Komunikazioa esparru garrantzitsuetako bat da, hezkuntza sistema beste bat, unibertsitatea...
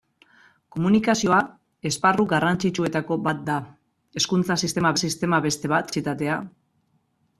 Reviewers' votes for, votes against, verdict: 0, 2, rejected